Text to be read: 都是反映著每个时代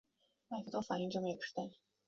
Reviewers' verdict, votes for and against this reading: rejected, 1, 2